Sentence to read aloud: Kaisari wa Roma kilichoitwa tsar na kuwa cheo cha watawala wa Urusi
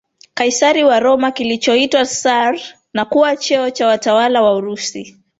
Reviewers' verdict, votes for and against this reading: accepted, 2, 1